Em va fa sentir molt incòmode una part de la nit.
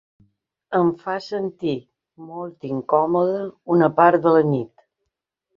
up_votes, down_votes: 2, 3